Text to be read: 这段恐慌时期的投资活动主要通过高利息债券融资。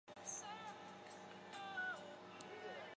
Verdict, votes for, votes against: rejected, 1, 7